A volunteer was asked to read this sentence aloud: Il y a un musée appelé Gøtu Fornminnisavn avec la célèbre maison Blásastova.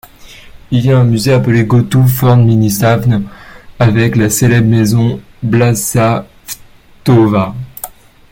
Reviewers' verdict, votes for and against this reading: rejected, 1, 2